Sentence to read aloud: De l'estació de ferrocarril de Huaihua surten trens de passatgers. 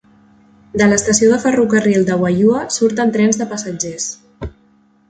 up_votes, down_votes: 2, 0